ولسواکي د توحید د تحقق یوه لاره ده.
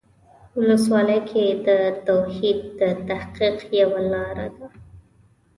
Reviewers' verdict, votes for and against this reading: rejected, 1, 2